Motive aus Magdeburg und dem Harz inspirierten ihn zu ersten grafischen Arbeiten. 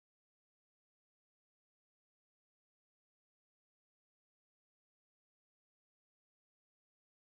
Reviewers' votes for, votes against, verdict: 0, 4, rejected